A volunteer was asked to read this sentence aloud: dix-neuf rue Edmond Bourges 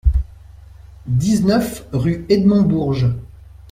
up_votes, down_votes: 2, 0